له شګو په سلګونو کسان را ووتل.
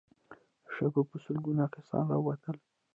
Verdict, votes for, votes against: rejected, 0, 2